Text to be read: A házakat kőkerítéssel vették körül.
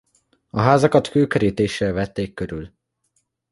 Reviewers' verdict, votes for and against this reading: accepted, 2, 0